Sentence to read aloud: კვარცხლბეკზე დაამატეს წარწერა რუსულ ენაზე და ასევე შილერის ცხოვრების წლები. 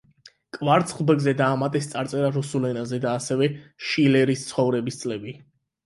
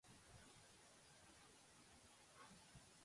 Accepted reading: first